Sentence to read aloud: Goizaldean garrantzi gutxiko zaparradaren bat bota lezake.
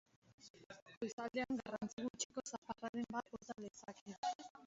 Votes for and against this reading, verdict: 1, 4, rejected